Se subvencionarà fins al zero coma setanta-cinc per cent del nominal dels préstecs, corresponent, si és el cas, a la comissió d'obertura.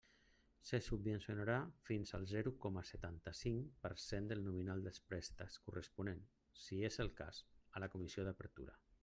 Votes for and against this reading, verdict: 1, 2, rejected